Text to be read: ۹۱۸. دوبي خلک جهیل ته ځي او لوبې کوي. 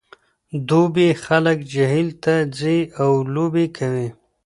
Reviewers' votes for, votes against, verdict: 0, 2, rejected